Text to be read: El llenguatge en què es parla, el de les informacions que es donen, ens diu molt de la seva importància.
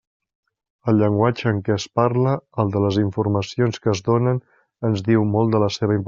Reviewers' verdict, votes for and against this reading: rejected, 1, 2